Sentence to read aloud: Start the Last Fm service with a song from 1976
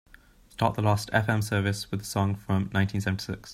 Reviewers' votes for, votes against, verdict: 0, 2, rejected